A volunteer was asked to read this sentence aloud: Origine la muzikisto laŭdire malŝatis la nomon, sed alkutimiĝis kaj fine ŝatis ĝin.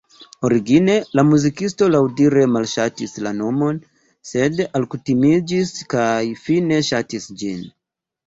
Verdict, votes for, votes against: rejected, 1, 2